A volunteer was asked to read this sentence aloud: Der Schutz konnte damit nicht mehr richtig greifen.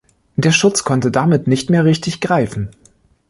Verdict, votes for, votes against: accepted, 2, 0